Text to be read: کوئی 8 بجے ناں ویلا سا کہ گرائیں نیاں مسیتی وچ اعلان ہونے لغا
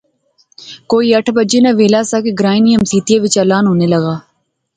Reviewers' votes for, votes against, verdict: 0, 2, rejected